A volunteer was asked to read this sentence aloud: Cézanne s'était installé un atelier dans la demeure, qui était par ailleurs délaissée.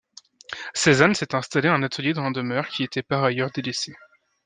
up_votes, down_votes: 2, 0